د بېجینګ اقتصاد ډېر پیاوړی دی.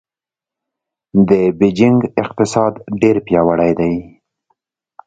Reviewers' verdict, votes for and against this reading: accepted, 2, 0